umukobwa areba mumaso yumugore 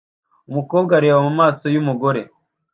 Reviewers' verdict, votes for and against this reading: accepted, 2, 0